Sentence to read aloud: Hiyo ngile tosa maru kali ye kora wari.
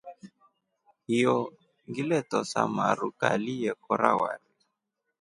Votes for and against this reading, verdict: 2, 0, accepted